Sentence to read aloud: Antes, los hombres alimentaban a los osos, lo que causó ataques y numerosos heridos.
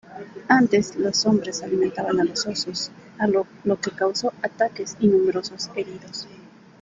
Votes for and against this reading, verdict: 0, 2, rejected